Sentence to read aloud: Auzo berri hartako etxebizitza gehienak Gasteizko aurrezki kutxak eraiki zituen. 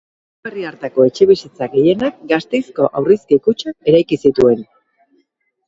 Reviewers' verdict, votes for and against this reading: rejected, 0, 2